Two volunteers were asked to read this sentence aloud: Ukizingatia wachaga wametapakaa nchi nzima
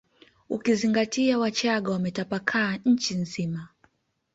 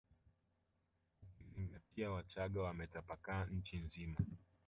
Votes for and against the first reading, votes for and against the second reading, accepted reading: 2, 0, 1, 2, first